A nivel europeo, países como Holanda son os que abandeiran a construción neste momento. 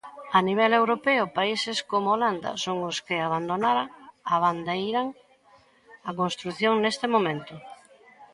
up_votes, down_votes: 0, 2